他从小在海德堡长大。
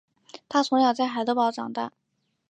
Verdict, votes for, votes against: accepted, 3, 2